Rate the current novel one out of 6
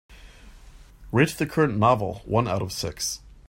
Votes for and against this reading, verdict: 0, 2, rejected